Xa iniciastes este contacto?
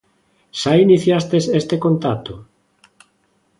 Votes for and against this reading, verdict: 2, 0, accepted